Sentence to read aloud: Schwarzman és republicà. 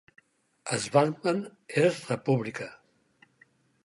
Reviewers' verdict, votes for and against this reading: accepted, 4, 2